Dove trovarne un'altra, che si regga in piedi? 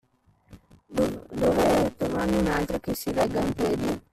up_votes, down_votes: 0, 2